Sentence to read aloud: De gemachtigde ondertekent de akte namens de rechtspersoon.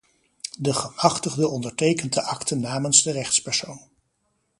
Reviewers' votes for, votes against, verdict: 2, 0, accepted